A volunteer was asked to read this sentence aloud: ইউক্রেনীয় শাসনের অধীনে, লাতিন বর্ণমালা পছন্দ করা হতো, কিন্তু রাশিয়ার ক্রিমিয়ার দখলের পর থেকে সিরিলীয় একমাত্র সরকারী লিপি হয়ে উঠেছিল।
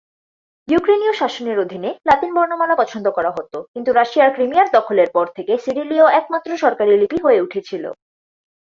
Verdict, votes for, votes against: accepted, 6, 0